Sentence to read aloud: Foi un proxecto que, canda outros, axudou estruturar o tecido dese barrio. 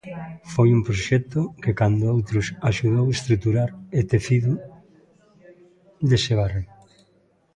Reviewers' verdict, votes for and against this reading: rejected, 0, 2